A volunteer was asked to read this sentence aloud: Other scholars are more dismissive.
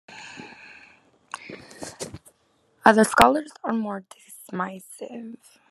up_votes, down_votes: 0, 2